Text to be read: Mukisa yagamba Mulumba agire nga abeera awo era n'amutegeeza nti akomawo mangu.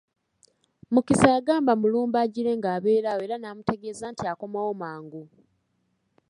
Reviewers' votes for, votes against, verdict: 3, 0, accepted